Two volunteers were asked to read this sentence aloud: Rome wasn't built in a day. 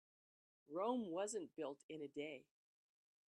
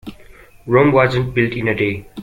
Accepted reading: first